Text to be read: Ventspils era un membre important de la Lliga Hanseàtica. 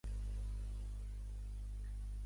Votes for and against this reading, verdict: 0, 2, rejected